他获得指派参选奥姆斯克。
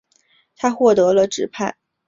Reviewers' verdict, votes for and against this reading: rejected, 0, 2